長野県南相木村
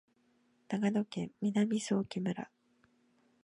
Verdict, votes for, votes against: accepted, 3, 0